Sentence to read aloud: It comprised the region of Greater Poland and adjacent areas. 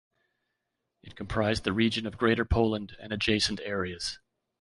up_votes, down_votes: 1, 2